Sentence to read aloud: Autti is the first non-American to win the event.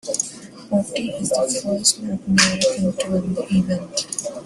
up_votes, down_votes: 0, 2